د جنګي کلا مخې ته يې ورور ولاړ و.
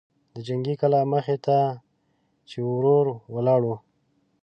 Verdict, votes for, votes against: rejected, 2, 3